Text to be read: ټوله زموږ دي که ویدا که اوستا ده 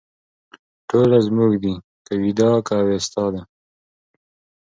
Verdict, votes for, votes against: accepted, 2, 1